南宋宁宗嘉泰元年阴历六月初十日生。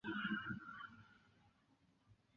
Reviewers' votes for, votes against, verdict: 0, 2, rejected